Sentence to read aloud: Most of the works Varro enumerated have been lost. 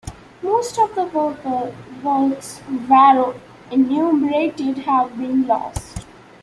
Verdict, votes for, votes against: rejected, 1, 2